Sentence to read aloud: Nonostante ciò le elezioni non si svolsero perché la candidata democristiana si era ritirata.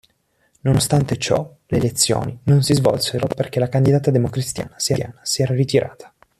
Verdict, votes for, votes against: rejected, 0, 2